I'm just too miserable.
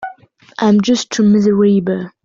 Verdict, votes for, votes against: rejected, 1, 2